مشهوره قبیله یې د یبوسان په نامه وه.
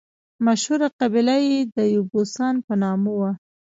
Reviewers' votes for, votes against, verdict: 2, 0, accepted